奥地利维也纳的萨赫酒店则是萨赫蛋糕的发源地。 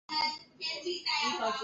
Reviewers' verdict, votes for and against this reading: rejected, 0, 3